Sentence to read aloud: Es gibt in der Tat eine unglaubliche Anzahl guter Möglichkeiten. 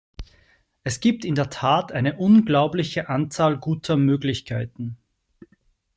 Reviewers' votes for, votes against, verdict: 2, 0, accepted